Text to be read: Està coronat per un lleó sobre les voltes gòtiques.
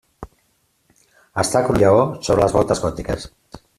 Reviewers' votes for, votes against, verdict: 0, 2, rejected